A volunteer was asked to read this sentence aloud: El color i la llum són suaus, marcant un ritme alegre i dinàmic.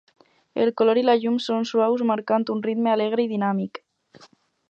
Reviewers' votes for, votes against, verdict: 4, 0, accepted